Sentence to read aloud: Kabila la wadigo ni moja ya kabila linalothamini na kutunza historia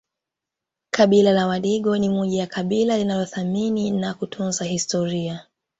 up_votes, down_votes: 2, 0